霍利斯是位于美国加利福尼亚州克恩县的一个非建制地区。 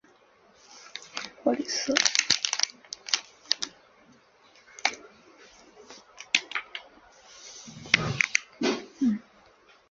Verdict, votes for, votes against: rejected, 0, 2